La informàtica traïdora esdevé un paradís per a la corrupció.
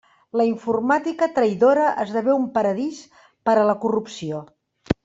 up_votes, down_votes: 3, 0